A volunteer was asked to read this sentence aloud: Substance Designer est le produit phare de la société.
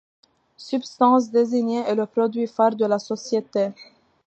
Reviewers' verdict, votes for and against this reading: accepted, 2, 1